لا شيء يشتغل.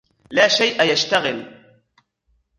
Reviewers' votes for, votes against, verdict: 0, 2, rejected